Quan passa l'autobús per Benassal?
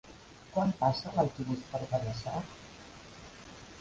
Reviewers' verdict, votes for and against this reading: accepted, 2, 0